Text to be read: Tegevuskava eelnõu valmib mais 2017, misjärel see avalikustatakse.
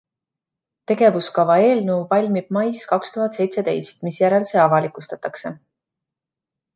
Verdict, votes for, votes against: rejected, 0, 2